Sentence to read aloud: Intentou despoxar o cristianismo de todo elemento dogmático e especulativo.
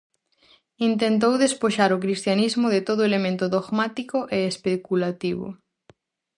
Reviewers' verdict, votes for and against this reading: rejected, 2, 2